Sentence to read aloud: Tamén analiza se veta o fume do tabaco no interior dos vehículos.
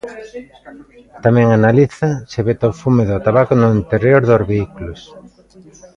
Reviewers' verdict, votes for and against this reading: rejected, 0, 2